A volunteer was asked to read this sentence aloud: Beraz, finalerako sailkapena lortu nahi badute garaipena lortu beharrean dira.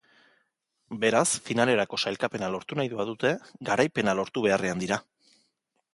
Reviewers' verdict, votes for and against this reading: accepted, 3, 0